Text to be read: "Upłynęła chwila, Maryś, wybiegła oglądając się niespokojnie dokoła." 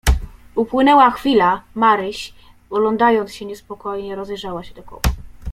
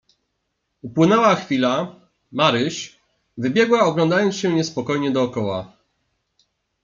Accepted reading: second